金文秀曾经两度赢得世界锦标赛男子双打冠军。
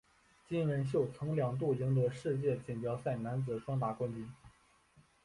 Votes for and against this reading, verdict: 2, 0, accepted